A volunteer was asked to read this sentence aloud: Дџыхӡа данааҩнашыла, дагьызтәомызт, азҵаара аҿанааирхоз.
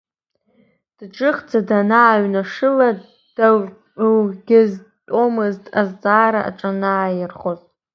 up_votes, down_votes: 1, 2